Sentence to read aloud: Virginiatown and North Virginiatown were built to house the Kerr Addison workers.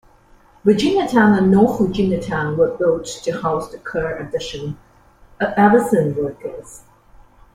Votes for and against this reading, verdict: 1, 2, rejected